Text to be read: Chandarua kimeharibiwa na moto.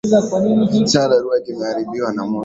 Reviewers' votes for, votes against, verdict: 2, 0, accepted